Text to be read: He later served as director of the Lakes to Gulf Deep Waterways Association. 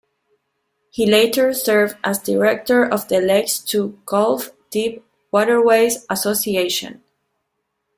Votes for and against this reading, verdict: 2, 0, accepted